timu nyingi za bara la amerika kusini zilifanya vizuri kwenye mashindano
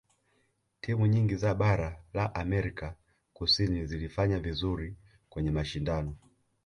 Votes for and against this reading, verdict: 2, 0, accepted